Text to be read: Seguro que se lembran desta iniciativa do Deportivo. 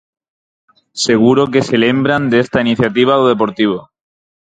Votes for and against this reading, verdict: 4, 0, accepted